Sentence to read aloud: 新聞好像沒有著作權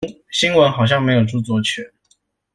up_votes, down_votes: 2, 0